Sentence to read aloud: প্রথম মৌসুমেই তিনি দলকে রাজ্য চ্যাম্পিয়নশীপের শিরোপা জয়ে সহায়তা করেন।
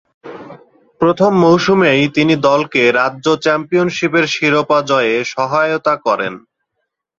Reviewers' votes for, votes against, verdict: 6, 0, accepted